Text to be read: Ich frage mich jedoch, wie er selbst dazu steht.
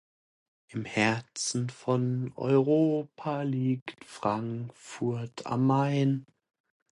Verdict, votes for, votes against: rejected, 0, 2